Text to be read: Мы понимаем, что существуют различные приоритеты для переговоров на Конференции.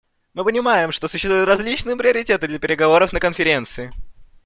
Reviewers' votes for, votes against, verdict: 2, 0, accepted